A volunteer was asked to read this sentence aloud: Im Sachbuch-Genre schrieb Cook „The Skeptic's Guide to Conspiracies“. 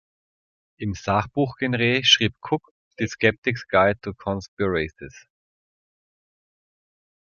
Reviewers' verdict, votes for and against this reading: rejected, 1, 2